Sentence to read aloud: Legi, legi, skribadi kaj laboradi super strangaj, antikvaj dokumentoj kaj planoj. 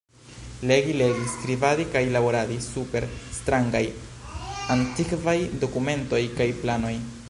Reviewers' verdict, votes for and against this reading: rejected, 1, 2